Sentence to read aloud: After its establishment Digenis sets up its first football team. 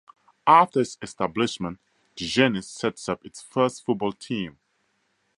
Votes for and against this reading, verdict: 4, 0, accepted